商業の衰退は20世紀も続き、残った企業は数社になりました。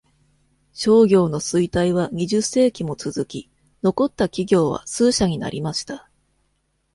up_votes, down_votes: 0, 2